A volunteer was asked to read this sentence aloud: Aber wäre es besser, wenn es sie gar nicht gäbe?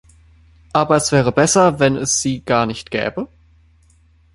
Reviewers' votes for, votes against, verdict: 0, 2, rejected